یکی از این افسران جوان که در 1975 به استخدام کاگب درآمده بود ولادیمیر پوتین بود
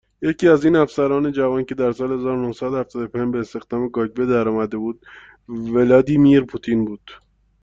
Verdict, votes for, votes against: rejected, 0, 2